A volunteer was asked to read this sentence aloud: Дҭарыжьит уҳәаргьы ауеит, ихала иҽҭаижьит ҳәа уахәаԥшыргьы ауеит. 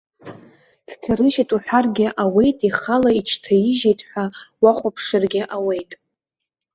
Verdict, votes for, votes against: accepted, 2, 0